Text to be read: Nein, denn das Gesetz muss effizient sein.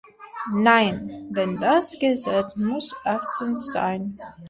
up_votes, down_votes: 0, 2